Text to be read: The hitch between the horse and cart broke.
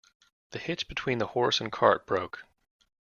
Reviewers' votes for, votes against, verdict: 0, 2, rejected